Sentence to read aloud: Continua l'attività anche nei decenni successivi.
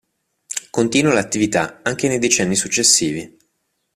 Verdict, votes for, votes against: accepted, 2, 0